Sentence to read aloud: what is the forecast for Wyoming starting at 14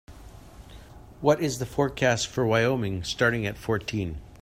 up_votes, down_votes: 0, 2